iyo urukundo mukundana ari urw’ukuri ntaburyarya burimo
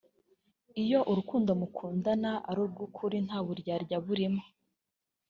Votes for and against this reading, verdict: 1, 2, rejected